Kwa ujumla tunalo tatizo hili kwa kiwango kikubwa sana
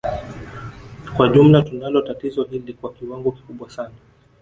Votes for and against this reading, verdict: 2, 0, accepted